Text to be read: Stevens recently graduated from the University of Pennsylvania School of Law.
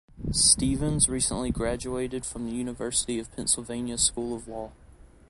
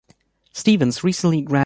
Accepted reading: first